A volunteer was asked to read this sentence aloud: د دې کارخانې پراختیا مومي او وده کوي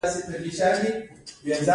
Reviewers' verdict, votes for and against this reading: accepted, 2, 0